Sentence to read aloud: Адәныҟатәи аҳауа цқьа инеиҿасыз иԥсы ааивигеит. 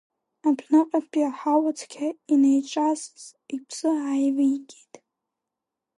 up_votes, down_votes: 0, 2